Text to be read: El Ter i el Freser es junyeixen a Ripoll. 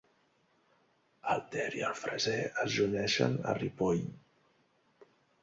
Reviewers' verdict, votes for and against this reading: rejected, 1, 2